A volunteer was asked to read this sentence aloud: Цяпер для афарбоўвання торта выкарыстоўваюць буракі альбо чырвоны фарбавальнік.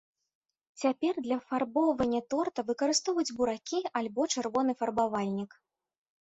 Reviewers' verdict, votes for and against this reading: accepted, 2, 0